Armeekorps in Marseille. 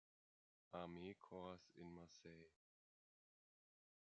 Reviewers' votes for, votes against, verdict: 1, 2, rejected